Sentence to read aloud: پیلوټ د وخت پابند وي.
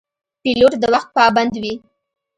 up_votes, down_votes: 2, 0